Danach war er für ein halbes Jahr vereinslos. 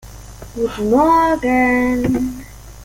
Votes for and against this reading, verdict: 0, 2, rejected